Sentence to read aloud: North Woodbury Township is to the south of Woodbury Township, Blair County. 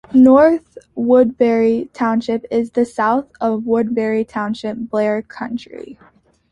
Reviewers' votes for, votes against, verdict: 1, 2, rejected